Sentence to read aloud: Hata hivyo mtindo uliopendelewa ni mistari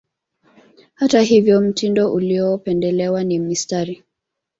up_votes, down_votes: 2, 1